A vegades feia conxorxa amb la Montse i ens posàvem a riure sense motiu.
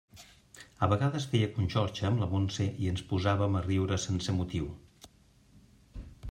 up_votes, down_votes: 2, 0